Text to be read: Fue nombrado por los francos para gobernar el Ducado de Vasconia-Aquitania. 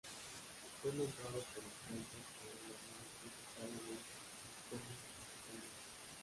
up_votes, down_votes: 0, 2